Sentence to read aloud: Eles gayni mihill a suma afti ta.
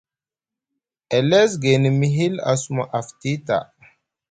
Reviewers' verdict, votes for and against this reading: accepted, 2, 0